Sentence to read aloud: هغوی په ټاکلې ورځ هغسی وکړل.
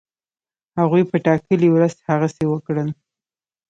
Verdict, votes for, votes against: accepted, 2, 0